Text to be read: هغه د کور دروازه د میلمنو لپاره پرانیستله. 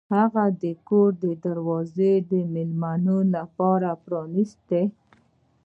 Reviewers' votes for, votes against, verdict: 1, 2, rejected